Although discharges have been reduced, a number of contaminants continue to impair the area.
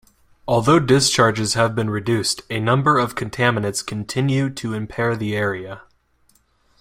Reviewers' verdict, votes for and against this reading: accepted, 2, 0